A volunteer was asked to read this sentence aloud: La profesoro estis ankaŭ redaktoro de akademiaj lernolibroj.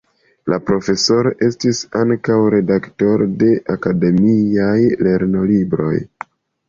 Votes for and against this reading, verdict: 2, 1, accepted